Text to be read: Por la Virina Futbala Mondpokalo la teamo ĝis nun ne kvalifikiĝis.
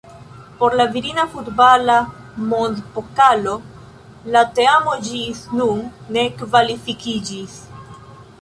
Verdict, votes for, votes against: accepted, 2, 1